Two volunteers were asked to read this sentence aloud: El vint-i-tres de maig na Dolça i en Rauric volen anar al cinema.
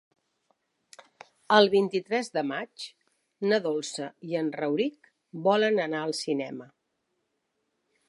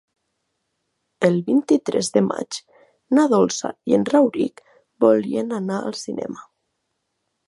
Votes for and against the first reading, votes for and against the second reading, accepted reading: 3, 0, 3, 4, first